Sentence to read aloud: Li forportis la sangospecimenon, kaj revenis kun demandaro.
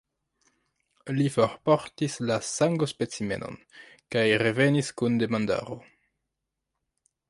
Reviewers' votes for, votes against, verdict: 0, 2, rejected